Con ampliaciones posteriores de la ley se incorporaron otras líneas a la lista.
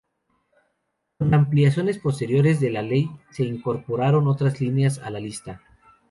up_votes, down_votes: 0, 2